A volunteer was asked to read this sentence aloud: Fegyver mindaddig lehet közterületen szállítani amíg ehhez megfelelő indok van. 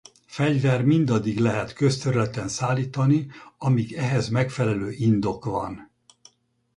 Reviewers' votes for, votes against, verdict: 2, 2, rejected